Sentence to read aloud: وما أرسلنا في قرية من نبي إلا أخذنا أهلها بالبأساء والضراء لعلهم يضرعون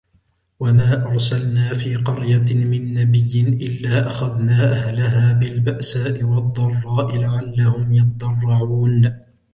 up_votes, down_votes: 2, 0